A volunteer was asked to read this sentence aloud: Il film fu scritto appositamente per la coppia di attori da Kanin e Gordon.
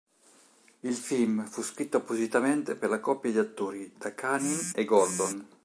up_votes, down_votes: 1, 2